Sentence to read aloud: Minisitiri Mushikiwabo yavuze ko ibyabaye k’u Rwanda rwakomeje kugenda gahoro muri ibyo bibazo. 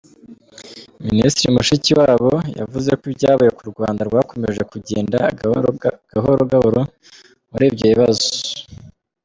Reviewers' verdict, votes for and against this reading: rejected, 1, 2